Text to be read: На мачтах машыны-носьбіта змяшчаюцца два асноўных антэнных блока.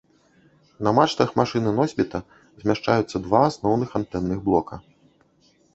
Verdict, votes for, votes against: accepted, 2, 0